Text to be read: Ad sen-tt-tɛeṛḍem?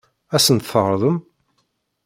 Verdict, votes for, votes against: rejected, 1, 2